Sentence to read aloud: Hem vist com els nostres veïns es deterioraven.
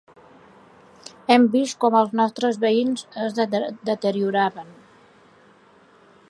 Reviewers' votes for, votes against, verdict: 2, 0, accepted